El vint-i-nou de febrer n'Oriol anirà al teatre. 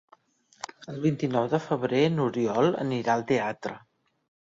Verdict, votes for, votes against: rejected, 1, 2